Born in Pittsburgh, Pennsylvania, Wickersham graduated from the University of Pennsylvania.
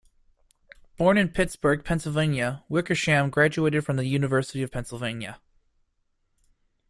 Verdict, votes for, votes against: accepted, 2, 0